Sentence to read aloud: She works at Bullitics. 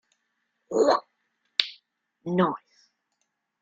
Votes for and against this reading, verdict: 0, 2, rejected